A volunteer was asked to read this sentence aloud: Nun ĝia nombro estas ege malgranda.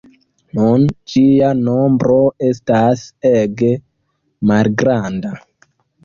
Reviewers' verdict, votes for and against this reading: accepted, 3, 2